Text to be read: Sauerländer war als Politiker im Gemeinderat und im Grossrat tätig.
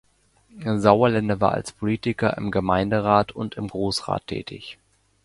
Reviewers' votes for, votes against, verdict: 2, 0, accepted